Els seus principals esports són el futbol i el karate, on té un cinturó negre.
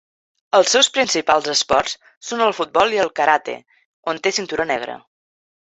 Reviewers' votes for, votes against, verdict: 2, 3, rejected